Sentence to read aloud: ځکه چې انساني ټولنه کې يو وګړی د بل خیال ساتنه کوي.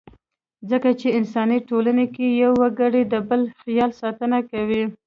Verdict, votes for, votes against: accepted, 2, 1